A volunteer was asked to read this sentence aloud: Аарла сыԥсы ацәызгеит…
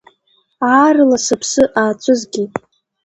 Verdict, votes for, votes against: accepted, 2, 0